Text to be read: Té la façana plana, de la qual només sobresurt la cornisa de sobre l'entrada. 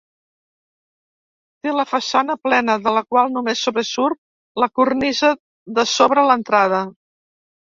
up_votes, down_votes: 1, 2